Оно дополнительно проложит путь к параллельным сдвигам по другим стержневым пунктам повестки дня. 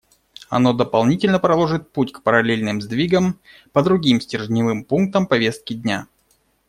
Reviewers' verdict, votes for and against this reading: accepted, 2, 0